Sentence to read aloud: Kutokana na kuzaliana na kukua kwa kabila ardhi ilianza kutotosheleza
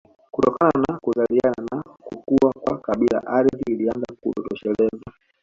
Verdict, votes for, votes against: rejected, 1, 2